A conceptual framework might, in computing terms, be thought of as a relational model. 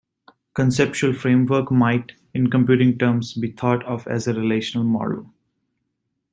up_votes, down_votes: 2, 1